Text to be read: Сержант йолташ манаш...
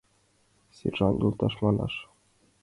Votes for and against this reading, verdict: 3, 1, accepted